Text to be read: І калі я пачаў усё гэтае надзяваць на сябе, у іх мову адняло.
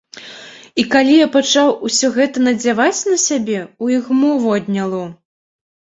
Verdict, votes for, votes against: accepted, 2, 0